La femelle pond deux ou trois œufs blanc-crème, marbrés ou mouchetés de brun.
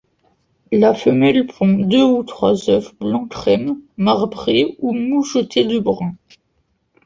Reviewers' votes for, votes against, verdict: 2, 0, accepted